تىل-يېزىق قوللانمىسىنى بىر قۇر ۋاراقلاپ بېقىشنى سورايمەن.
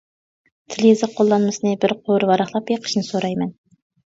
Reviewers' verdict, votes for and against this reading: accepted, 2, 1